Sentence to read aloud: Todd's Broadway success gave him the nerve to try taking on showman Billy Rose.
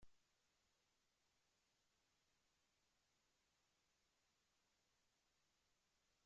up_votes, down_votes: 1, 2